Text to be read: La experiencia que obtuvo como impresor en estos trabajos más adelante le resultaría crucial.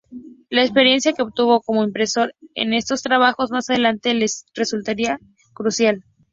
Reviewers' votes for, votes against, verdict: 2, 2, rejected